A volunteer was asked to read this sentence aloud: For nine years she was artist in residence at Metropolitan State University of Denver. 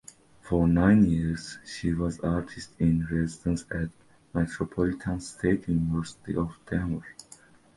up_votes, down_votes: 2, 0